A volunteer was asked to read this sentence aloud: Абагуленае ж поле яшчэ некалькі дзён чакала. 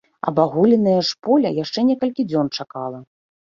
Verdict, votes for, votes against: accepted, 2, 0